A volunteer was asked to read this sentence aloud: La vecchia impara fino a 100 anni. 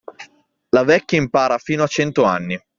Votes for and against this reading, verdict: 0, 2, rejected